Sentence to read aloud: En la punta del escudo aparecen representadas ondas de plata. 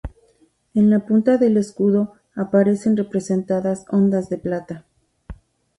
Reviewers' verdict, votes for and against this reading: accepted, 2, 0